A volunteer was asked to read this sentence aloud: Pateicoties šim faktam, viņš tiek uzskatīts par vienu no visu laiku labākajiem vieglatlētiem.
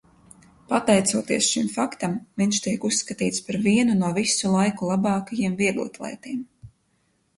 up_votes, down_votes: 4, 0